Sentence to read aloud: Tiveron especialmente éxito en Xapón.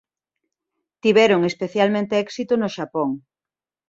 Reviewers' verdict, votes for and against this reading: rejected, 0, 2